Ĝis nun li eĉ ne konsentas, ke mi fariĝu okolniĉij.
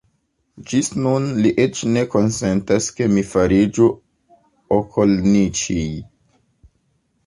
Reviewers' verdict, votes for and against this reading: accepted, 2, 0